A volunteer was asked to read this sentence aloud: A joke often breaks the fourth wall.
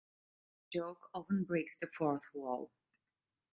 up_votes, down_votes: 1, 2